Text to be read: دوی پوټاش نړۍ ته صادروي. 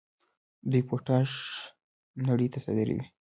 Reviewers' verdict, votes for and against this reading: rejected, 1, 2